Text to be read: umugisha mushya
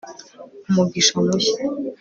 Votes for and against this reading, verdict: 3, 0, accepted